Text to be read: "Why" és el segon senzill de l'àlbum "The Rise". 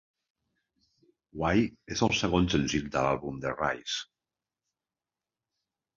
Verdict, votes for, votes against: accepted, 4, 0